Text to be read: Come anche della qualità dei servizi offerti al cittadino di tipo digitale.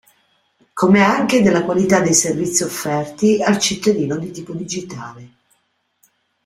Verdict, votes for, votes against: accepted, 2, 0